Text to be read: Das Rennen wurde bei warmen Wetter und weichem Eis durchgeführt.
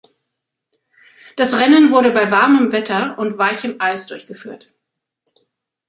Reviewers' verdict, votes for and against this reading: accepted, 2, 0